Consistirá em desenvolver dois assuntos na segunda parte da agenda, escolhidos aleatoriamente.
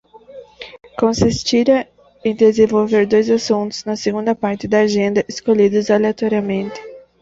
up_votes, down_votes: 2, 1